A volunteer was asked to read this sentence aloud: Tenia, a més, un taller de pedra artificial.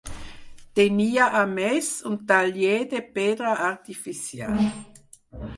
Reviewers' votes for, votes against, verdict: 6, 0, accepted